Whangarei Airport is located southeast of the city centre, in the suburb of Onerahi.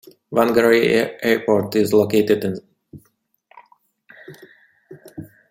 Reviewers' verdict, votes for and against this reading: rejected, 0, 2